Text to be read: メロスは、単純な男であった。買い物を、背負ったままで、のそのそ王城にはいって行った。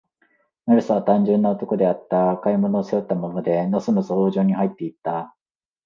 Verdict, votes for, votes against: rejected, 0, 2